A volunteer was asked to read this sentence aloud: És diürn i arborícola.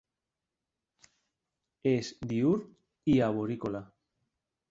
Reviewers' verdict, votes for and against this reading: rejected, 1, 2